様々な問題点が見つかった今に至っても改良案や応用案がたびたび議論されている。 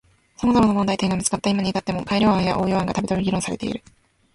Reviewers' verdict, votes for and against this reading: accepted, 2, 0